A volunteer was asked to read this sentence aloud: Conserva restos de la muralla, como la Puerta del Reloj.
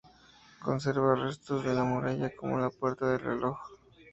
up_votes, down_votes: 2, 0